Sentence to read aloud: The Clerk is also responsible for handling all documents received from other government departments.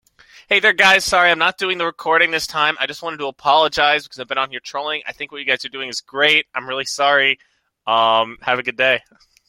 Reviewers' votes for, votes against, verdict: 0, 2, rejected